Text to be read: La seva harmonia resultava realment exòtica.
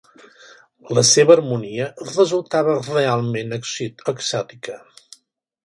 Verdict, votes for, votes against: rejected, 1, 2